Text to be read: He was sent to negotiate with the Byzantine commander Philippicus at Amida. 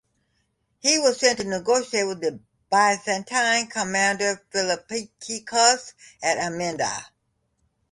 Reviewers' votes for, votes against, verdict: 0, 2, rejected